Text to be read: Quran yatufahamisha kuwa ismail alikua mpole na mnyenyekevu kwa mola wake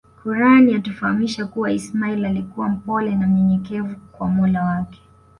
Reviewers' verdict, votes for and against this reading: accepted, 2, 0